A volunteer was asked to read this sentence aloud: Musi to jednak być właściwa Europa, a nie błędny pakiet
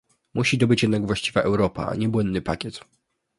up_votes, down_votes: 1, 2